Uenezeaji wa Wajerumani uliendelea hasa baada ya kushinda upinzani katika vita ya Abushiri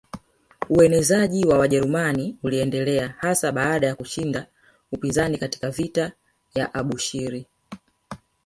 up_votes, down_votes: 2, 0